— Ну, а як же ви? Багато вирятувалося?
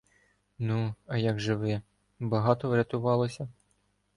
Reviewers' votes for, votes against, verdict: 1, 2, rejected